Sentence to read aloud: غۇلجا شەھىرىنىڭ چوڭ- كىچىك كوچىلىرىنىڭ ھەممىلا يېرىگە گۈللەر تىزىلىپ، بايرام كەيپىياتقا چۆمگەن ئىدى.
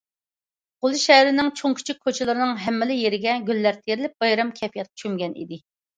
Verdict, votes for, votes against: rejected, 0, 2